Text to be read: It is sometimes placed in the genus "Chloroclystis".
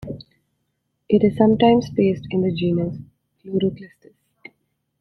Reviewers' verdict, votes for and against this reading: rejected, 0, 2